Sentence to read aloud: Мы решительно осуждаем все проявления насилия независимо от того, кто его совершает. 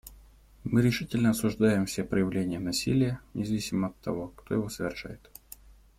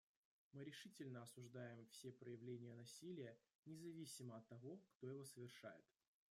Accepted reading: first